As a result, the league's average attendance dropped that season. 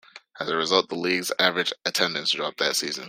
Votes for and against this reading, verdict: 2, 0, accepted